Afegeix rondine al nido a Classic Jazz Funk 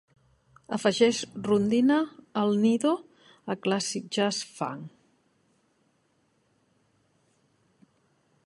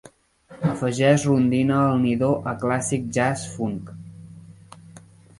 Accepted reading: first